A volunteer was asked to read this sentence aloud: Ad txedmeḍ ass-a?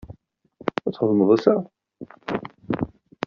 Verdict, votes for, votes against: rejected, 1, 2